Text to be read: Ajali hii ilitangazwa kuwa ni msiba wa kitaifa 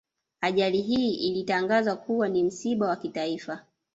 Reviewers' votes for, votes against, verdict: 0, 2, rejected